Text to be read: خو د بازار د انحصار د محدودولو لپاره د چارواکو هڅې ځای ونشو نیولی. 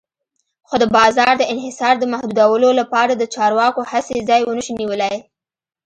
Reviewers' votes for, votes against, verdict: 2, 1, accepted